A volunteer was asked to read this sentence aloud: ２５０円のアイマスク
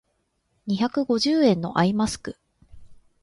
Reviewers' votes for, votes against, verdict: 0, 2, rejected